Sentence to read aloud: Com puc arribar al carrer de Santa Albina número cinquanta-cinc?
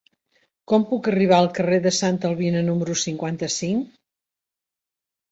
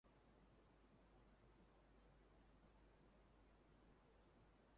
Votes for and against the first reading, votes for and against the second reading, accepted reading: 3, 0, 0, 2, first